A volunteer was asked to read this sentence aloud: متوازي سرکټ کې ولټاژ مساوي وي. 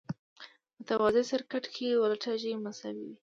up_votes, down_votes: 2, 0